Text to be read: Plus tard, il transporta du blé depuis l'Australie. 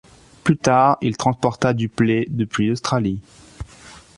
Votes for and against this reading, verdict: 1, 2, rejected